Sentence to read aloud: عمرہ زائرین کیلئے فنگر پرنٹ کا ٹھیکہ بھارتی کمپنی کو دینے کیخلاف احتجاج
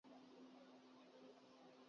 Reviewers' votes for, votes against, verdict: 0, 3, rejected